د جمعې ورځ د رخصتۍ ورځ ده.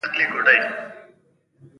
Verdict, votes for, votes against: rejected, 1, 2